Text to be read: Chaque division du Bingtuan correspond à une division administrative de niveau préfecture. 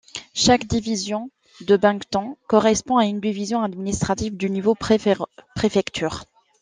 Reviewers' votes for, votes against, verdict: 0, 2, rejected